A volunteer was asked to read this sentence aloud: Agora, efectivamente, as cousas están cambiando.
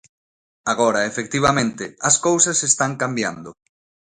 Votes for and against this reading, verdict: 2, 0, accepted